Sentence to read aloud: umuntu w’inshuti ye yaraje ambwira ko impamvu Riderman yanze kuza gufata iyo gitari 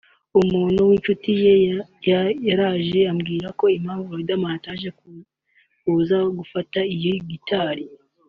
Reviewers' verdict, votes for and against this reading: rejected, 1, 2